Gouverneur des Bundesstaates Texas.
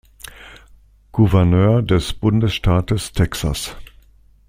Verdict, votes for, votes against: accepted, 2, 0